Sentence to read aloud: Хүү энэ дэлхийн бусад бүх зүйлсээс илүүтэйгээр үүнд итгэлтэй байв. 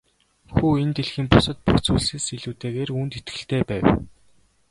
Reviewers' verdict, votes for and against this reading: accepted, 2, 0